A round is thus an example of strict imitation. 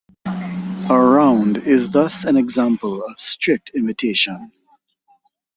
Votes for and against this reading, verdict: 2, 2, rejected